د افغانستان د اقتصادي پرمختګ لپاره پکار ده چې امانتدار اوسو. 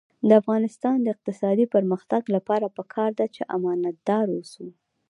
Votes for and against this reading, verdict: 2, 0, accepted